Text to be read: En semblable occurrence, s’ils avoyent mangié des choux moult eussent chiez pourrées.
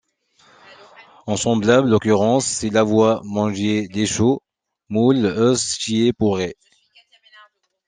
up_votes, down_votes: 0, 2